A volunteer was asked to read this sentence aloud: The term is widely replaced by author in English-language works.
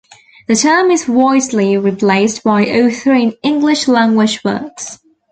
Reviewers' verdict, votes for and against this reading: rejected, 0, 2